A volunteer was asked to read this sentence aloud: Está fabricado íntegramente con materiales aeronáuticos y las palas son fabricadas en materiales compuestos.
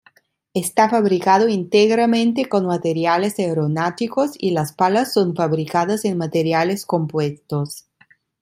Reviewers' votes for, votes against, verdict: 0, 2, rejected